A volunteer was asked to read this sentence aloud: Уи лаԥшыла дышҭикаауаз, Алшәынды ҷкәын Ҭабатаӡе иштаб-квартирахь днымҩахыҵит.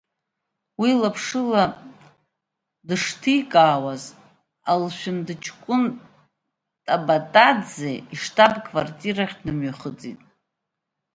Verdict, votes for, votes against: rejected, 1, 2